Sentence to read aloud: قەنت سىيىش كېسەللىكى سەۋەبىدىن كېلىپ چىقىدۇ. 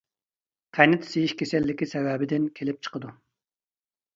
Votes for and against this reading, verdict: 2, 0, accepted